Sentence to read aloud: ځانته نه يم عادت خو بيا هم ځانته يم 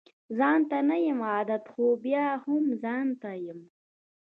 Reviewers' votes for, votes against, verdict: 2, 1, accepted